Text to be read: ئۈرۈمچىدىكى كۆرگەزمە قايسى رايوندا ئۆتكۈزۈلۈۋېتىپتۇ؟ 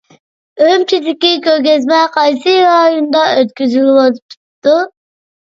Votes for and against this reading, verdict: 0, 2, rejected